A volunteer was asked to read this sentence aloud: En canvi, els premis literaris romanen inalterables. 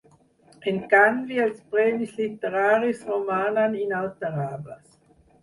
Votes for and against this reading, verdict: 2, 4, rejected